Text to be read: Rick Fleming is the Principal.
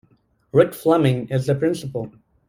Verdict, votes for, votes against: accepted, 2, 0